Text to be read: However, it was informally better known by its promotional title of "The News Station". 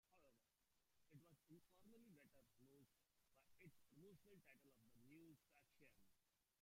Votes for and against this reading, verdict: 0, 2, rejected